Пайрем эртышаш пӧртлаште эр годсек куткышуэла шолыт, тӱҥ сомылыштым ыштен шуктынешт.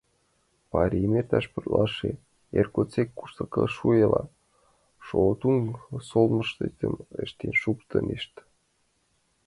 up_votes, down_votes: 0, 2